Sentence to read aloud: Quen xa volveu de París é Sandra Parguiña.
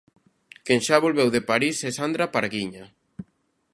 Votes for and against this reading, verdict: 2, 0, accepted